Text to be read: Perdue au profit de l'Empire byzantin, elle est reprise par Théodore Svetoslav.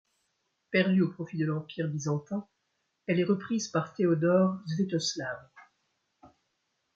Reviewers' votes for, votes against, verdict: 2, 0, accepted